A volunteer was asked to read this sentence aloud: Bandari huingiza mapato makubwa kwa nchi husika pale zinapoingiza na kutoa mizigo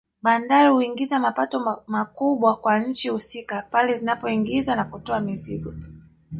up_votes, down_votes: 2, 1